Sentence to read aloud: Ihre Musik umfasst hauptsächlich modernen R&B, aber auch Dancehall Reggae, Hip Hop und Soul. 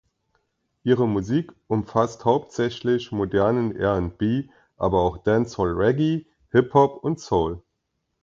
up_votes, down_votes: 2, 0